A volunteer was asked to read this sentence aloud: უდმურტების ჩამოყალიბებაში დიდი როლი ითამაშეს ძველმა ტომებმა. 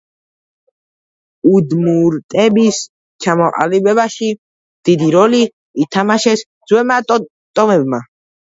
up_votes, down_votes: 2, 1